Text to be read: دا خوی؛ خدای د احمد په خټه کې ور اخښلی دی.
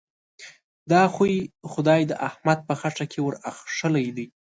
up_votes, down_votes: 2, 0